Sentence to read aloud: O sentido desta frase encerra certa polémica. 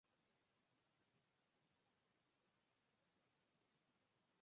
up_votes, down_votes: 0, 4